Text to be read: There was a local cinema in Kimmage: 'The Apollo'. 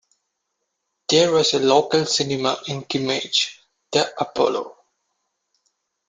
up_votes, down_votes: 1, 2